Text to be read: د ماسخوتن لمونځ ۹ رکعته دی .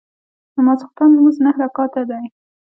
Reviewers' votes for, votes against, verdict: 0, 2, rejected